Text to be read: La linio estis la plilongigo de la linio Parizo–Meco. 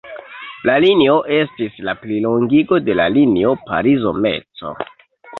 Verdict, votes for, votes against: rejected, 1, 2